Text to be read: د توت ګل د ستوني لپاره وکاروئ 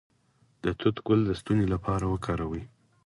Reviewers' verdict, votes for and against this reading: accepted, 4, 0